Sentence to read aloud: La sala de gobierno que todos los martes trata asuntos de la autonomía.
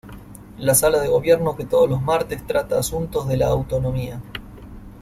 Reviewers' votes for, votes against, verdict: 2, 0, accepted